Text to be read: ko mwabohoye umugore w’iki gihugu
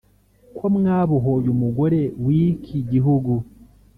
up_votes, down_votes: 2, 0